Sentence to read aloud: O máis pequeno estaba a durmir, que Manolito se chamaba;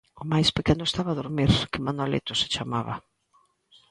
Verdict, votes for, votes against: accepted, 2, 0